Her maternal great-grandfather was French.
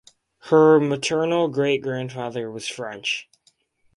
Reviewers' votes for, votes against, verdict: 2, 0, accepted